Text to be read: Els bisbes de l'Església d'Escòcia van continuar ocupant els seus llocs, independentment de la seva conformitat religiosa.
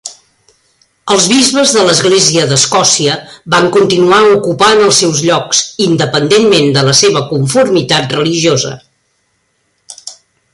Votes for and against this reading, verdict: 3, 0, accepted